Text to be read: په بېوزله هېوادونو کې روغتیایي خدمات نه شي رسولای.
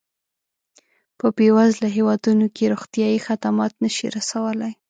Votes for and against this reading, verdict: 2, 0, accepted